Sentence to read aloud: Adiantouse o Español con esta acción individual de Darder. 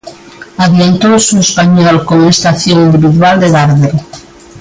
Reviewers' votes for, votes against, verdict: 2, 1, accepted